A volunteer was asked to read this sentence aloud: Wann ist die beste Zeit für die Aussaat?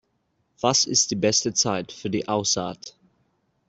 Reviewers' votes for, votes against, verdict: 1, 2, rejected